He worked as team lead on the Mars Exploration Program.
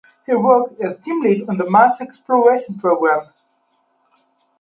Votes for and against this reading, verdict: 2, 0, accepted